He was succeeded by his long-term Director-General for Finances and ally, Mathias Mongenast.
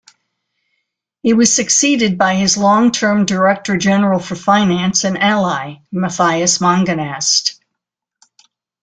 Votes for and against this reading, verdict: 1, 2, rejected